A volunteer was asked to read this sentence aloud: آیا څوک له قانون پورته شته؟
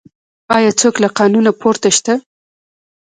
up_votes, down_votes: 1, 2